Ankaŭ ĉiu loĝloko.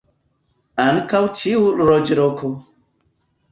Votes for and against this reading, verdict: 0, 2, rejected